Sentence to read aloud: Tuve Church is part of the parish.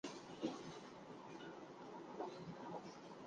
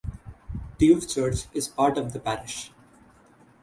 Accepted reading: second